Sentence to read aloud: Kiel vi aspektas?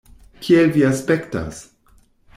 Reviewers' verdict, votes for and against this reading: accepted, 2, 0